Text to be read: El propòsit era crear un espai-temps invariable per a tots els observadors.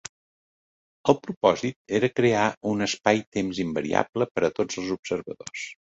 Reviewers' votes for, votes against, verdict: 3, 0, accepted